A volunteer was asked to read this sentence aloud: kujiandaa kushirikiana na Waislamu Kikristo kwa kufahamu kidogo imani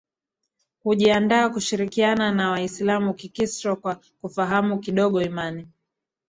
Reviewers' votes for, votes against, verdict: 0, 2, rejected